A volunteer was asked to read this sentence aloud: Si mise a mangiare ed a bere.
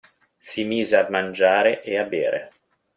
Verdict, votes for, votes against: rejected, 1, 2